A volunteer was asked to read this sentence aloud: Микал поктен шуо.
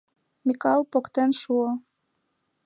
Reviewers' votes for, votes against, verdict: 2, 0, accepted